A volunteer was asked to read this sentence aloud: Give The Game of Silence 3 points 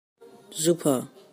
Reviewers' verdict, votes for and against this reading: rejected, 0, 2